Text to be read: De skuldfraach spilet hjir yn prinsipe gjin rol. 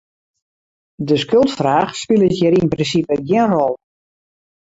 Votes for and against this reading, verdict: 0, 2, rejected